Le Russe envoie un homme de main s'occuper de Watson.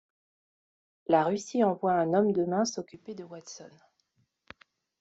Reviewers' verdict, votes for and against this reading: rejected, 1, 2